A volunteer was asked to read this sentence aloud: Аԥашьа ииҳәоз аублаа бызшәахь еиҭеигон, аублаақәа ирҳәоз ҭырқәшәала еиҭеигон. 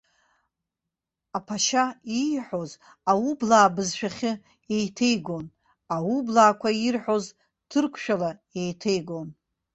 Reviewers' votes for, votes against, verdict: 0, 2, rejected